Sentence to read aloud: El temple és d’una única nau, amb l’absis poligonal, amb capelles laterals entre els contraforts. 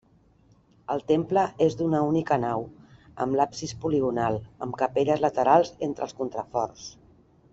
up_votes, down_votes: 3, 0